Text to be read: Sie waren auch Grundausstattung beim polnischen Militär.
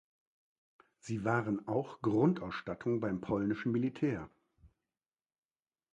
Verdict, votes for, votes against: accepted, 2, 1